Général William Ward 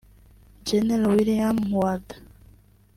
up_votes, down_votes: 0, 2